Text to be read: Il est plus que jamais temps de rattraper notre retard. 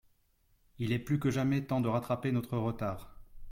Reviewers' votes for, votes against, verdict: 2, 0, accepted